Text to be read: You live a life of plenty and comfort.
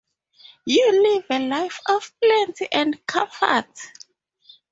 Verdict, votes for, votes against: rejected, 2, 2